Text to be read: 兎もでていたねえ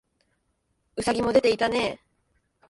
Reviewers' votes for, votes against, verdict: 0, 3, rejected